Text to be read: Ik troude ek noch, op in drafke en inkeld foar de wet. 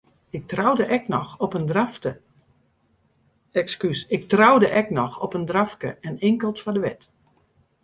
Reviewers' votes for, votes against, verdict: 0, 2, rejected